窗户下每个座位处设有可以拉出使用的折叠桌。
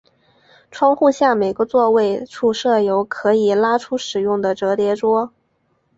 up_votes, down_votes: 0, 2